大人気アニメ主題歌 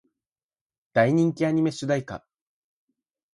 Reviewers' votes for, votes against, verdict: 4, 0, accepted